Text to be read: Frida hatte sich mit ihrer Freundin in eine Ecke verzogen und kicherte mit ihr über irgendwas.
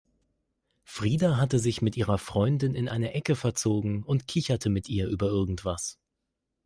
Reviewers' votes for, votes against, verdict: 2, 0, accepted